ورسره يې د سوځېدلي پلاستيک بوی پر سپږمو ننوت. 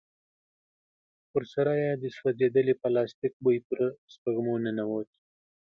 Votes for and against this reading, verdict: 2, 0, accepted